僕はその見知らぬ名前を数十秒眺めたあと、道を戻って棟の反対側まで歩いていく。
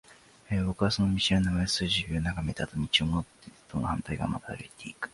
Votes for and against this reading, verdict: 7, 4, accepted